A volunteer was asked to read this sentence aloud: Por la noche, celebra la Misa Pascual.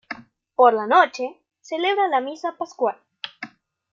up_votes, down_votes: 2, 0